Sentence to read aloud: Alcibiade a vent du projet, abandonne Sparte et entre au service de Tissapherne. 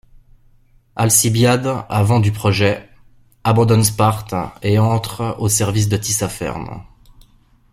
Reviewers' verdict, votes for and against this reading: accepted, 2, 0